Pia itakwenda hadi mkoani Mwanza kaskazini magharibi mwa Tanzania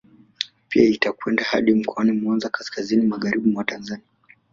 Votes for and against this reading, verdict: 1, 2, rejected